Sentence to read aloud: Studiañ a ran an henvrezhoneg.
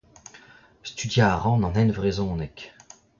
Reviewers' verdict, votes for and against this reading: accepted, 2, 0